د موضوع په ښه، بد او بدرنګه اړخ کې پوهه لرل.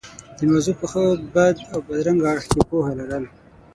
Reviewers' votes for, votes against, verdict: 3, 6, rejected